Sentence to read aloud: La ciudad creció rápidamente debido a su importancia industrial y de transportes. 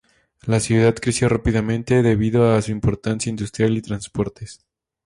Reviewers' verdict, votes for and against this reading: accepted, 2, 0